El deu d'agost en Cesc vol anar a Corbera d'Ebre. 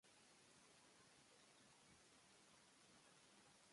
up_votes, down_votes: 0, 2